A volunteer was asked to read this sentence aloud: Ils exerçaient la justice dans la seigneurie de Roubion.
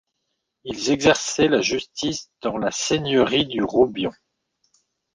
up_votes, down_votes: 0, 2